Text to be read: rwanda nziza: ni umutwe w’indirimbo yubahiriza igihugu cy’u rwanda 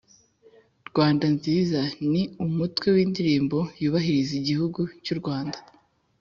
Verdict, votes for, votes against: accepted, 2, 0